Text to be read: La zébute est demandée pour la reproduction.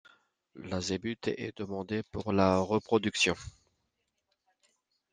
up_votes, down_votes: 2, 0